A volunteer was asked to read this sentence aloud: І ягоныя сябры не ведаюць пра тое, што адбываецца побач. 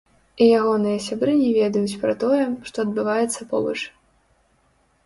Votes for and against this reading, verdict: 1, 2, rejected